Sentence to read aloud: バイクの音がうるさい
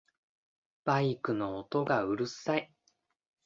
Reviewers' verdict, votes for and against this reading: accepted, 2, 0